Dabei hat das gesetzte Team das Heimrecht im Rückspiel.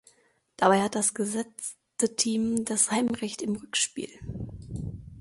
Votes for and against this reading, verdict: 2, 0, accepted